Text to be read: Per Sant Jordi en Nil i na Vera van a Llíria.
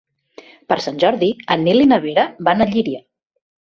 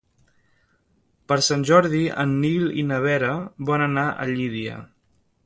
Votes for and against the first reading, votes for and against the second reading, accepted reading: 2, 0, 0, 2, first